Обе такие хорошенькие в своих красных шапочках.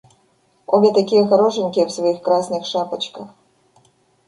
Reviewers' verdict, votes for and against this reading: rejected, 1, 2